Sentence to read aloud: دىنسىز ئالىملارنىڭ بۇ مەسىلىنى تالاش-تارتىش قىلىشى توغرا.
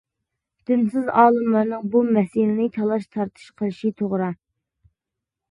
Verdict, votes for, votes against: accepted, 2, 0